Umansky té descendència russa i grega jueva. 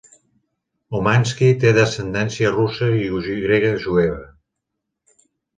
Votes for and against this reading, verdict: 0, 2, rejected